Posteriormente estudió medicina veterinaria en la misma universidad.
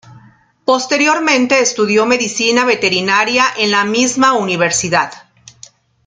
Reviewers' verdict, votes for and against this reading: accepted, 2, 0